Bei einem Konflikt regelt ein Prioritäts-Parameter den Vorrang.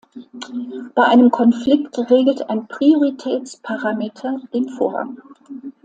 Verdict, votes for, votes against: accepted, 2, 0